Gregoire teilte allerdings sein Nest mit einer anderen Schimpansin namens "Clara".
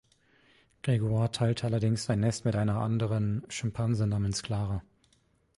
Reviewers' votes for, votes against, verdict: 2, 1, accepted